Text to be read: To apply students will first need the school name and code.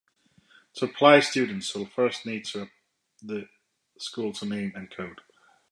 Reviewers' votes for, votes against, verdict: 1, 2, rejected